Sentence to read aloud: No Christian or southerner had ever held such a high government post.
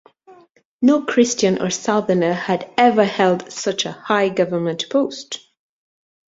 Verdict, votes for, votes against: accepted, 2, 0